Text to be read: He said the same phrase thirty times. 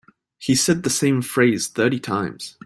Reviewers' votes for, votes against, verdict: 2, 0, accepted